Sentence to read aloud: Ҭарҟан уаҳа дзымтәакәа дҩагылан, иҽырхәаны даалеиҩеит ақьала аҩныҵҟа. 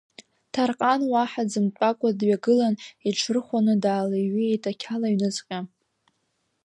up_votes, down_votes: 2, 0